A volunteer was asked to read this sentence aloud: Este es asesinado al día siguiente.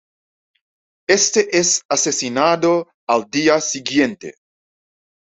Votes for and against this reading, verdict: 2, 0, accepted